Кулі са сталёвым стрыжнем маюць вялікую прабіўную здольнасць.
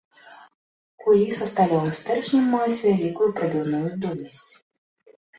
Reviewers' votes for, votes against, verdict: 1, 2, rejected